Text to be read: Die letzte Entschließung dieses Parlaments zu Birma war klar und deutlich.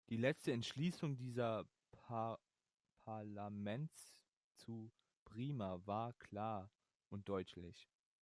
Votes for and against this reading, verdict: 0, 2, rejected